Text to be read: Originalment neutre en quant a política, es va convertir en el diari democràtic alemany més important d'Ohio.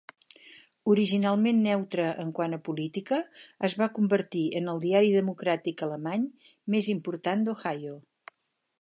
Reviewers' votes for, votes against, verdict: 8, 0, accepted